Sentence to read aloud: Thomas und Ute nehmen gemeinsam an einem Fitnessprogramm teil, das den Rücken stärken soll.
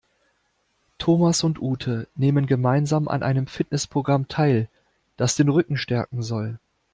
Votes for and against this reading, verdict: 2, 0, accepted